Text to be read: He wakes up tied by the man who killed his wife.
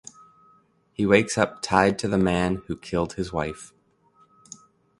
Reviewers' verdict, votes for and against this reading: rejected, 1, 2